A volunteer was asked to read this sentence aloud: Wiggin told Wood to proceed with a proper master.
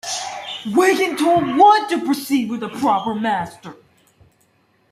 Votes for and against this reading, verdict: 2, 1, accepted